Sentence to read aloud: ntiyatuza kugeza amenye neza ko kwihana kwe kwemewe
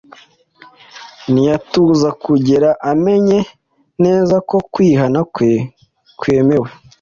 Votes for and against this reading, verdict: 1, 2, rejected